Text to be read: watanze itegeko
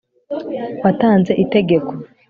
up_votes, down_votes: 2, 0